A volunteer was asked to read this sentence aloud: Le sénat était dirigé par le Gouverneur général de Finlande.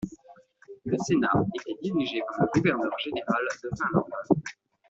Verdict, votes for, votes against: rejected, 0, 2